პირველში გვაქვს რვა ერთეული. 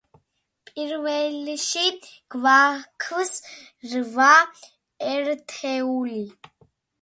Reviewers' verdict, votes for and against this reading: accepted, 2, 1